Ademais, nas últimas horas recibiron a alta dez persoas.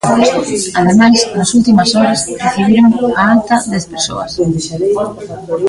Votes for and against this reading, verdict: 1, 2, rejected